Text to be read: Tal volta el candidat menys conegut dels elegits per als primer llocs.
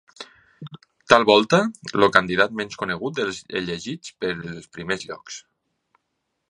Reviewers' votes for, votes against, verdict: 0, 3, rejected